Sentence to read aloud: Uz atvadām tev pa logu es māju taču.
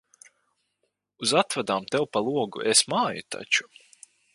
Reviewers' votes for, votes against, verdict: 2, 2, rejected